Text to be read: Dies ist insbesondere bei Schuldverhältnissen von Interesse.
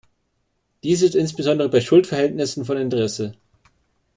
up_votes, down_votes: 1, 2